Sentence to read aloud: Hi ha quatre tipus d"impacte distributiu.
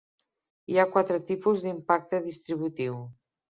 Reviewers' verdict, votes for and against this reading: accepted, 2, 0